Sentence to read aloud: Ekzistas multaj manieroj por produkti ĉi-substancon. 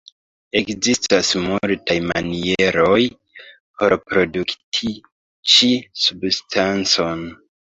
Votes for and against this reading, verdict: 1, 2, rejected